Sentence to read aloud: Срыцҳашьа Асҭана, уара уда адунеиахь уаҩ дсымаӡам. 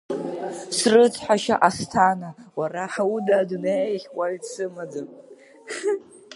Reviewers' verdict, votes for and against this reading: accepted, 3, 2